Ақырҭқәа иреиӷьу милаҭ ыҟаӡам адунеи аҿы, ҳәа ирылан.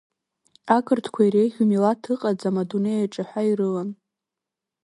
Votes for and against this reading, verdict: 2, 0, accepted